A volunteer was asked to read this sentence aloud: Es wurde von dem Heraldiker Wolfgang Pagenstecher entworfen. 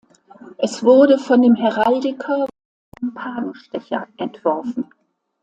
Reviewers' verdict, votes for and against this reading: rejected, 0, 2